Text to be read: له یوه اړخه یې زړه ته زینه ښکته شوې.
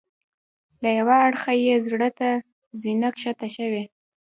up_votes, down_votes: 2, 0